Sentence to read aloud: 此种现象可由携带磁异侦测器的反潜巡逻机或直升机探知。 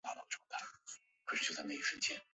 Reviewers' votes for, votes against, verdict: 1, 3, rejected